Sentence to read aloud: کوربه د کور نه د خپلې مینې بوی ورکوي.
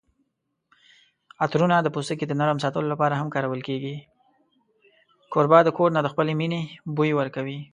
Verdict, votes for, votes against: rejected, 0, 2